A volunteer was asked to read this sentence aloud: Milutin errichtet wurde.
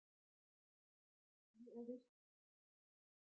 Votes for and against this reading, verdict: 0, 2, rejected